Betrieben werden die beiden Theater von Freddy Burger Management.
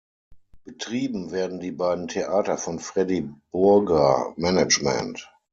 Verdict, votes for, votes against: accepted, 6, 3